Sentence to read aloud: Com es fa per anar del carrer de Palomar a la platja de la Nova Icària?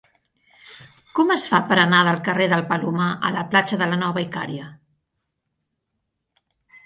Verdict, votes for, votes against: rejected, 0, 2